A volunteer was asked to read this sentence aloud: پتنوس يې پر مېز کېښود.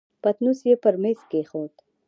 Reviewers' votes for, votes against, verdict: 0, 2, rejected